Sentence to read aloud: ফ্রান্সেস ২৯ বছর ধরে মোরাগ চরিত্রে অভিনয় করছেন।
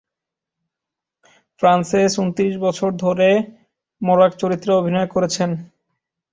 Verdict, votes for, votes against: rejected, 0, 2